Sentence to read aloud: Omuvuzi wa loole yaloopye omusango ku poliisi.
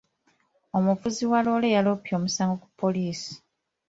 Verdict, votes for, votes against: accepted, 3, 1